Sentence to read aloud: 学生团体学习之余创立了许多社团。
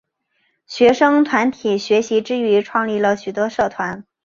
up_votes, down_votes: 6, 0